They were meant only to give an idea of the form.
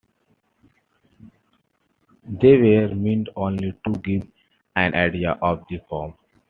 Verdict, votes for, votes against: accepted, 2, 1